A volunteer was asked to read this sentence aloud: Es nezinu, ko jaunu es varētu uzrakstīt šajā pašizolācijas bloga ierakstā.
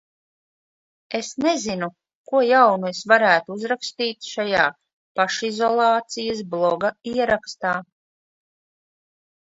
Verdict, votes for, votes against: accepted, 2, 0